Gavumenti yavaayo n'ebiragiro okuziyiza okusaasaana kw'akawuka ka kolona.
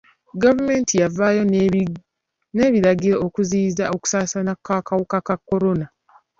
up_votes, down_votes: 2, 3